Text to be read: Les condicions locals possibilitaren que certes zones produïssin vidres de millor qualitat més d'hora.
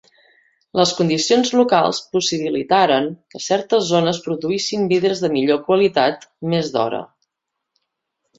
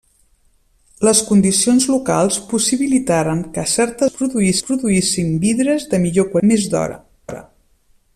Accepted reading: first